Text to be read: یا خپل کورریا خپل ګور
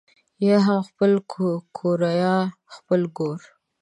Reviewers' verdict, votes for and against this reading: rejected, 2, 5